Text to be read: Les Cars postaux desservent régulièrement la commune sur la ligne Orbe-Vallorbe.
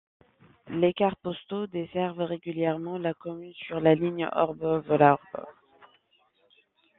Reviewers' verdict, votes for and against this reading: rejected, 0, 2